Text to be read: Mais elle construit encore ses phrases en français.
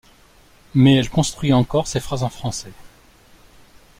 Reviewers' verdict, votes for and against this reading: accepted, 2, 0